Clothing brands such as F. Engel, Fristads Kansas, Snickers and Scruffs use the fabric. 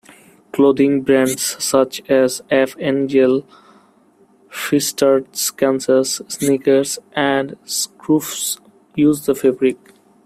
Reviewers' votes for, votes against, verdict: 2, 1, accepted